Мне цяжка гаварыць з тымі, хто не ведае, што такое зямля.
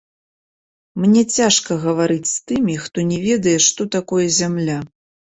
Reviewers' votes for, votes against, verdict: 1, 3, rejected